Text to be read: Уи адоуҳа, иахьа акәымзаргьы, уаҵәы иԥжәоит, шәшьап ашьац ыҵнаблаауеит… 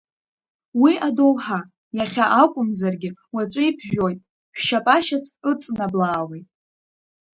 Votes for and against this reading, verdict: 2, 0, accepted